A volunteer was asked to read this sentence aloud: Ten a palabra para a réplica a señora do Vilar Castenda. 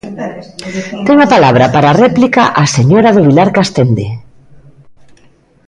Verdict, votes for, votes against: rejected, 0, 2